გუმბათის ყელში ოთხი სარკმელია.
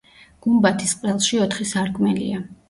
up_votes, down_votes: 2, 0